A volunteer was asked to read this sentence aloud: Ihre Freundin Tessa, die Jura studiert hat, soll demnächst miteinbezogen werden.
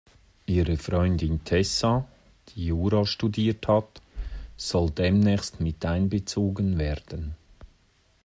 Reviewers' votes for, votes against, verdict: 2, 0, accepted